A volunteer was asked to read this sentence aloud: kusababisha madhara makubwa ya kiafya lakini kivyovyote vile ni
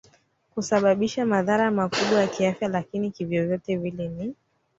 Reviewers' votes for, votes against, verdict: 2, 1, accepted